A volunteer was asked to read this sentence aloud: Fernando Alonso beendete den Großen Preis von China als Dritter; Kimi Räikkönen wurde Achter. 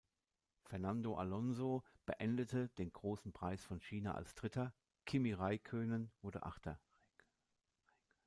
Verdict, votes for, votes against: accepted, 2, 0